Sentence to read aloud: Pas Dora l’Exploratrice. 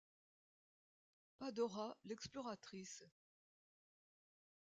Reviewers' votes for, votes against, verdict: 0, 2, rejected